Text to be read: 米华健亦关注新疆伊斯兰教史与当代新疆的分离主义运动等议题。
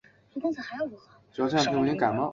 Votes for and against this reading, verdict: 0, 2, rejected